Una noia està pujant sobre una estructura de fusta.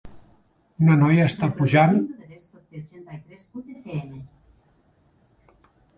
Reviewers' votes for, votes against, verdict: 0, 2, rejected